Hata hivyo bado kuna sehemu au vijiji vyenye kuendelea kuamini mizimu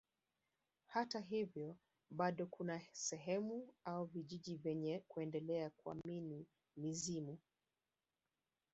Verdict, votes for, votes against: accepted, 7, 1